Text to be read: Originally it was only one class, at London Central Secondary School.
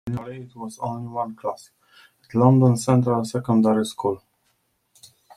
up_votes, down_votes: 0, 2